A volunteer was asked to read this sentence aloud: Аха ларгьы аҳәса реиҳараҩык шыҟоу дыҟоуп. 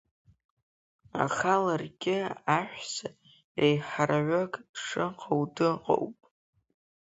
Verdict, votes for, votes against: rejected, 1, 2